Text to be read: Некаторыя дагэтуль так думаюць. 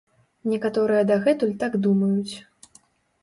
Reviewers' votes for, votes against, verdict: 2, 0, accepted